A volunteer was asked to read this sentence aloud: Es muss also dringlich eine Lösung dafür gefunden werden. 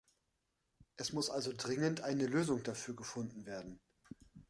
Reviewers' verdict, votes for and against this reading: rejected, 0, 2